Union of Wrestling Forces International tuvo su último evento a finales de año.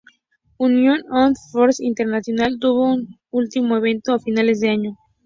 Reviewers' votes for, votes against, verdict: 2, 0, accepted